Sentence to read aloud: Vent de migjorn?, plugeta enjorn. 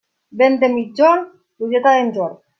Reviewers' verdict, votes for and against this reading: rejected, 0, 2